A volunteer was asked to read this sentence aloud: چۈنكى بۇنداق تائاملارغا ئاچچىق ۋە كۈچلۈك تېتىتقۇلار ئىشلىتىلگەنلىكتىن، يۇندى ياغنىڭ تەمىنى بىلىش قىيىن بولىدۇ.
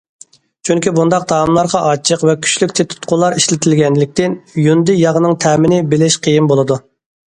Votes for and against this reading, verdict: 2, 0, accepted